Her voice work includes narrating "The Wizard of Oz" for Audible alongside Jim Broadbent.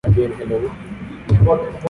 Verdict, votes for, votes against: rejected, 0, 2